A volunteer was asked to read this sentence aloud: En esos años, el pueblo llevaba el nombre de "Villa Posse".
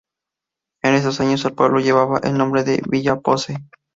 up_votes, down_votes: 2, 0